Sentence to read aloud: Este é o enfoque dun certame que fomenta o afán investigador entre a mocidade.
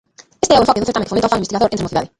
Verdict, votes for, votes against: rejected, 0, 2